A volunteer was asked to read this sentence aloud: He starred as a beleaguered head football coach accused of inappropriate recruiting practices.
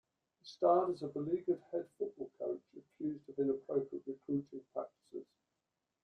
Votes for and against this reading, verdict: 0, 2, rejected